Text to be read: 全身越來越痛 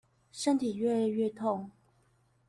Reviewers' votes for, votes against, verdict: 1, 2, rejected